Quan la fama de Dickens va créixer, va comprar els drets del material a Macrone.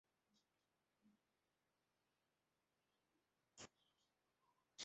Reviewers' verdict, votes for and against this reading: rejected, 0, 2